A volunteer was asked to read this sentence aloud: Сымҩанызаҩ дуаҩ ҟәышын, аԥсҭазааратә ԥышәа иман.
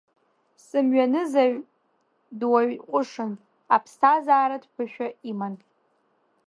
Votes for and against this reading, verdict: 2, 0, accepted